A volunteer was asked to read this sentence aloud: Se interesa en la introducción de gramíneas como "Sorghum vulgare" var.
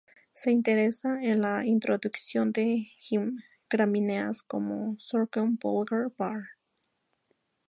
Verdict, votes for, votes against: rejected, 0, 2